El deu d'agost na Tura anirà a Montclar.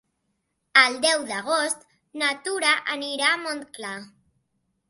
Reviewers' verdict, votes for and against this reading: accepted, 3, 0